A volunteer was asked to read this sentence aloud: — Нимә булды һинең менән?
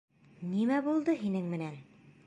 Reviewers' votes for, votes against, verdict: 2, 0, accepted